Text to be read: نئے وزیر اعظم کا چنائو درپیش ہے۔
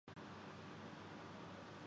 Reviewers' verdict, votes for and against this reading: rejected, 0, 2